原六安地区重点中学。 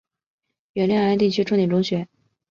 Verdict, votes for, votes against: accepted, 6, 0